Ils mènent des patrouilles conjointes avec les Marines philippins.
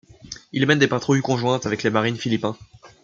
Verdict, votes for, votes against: accepted, 2, 0